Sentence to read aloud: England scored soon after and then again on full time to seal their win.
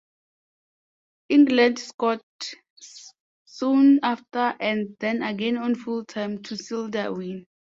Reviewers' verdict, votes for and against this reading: accepted, 3, 0